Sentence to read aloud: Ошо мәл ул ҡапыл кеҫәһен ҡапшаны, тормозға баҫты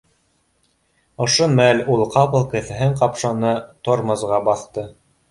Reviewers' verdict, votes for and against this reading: accepted, 2, 0